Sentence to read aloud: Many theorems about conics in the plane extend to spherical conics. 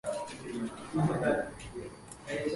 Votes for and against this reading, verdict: 0, 2, rejected